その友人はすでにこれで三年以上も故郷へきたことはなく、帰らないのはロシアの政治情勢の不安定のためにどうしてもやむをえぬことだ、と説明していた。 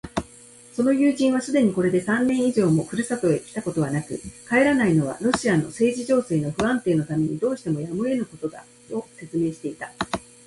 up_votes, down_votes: 1, 2